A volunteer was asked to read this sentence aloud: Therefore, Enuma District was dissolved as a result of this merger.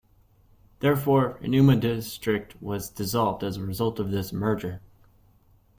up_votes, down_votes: 2, 0